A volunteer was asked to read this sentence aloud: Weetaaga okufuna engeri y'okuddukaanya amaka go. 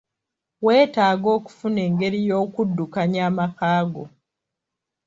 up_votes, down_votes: 2, 0